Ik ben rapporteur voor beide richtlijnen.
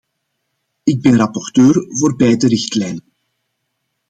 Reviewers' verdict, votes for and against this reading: rejected, 0, 2